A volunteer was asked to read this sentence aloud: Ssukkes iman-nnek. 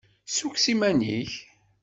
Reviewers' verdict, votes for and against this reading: accepted, 2, 0